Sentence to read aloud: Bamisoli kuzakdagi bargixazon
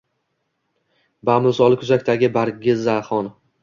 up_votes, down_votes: 2, 0